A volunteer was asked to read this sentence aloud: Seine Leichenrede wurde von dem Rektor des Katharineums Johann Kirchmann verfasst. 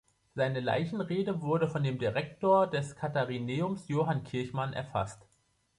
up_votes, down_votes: 0, 2